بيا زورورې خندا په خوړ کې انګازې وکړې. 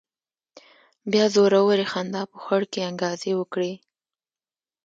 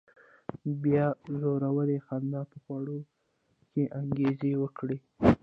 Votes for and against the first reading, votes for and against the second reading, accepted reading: 2, 0, 0, 2, first